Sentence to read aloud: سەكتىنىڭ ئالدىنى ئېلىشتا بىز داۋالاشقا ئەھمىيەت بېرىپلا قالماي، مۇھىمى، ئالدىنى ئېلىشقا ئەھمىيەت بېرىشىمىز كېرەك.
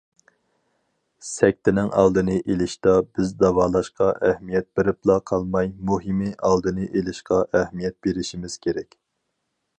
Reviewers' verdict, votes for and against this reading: accepted, 4, 0